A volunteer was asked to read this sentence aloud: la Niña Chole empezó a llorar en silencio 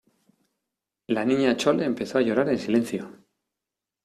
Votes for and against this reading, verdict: 2, 0, accepted